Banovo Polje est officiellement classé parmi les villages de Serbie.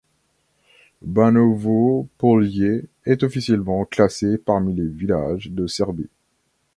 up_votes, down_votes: 2, 0